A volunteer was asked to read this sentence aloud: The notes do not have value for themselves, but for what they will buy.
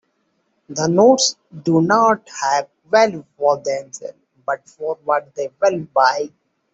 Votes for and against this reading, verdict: 2, 0, accepted